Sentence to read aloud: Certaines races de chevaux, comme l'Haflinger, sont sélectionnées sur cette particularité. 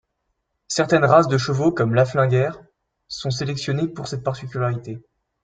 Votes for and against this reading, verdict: 0, 2, rejected